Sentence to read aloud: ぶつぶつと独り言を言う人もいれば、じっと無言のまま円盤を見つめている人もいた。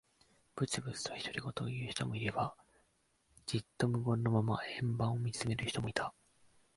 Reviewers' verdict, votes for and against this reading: rejected, 1, 2